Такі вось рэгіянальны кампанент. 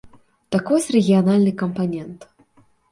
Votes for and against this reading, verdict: 0, 2, rejected